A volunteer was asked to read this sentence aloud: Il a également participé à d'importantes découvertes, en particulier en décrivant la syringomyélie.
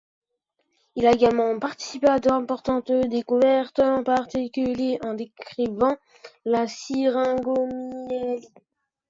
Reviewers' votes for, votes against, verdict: 2, 1, accepted